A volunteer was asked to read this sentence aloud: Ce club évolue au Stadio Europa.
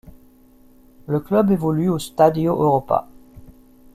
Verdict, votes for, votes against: rejected, 1, 2